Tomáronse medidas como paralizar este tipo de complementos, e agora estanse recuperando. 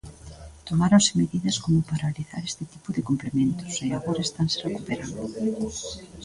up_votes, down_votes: 2, 0